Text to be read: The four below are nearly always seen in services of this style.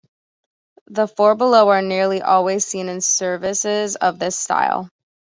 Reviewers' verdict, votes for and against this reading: accepted, 2, 0